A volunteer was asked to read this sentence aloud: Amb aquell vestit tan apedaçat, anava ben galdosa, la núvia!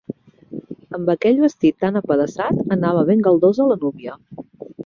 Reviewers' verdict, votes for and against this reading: accepted, 2, 0